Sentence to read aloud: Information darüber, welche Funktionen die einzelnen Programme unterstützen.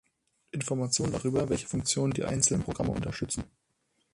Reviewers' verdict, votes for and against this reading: accepted, 6, 0